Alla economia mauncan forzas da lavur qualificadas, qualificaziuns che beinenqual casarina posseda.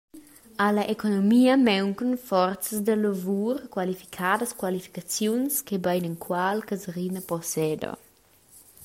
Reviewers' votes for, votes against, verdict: 2, 1, accepted